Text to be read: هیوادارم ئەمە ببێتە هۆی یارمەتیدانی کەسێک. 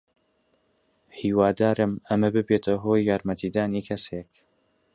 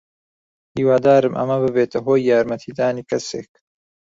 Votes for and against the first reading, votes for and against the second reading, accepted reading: 2, 0, 1, 2, first